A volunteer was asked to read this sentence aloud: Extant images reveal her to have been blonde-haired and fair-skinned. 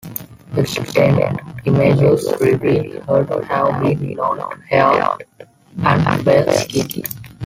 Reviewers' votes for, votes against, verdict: 2, 0, accepted